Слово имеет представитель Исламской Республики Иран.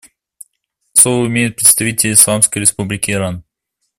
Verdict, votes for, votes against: accepted, 2, 0